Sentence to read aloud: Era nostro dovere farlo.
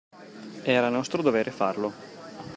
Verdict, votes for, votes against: accepted, 2, 0